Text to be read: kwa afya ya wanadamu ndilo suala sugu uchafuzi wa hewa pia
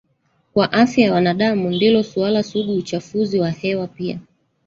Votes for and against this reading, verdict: 0, 2, rejected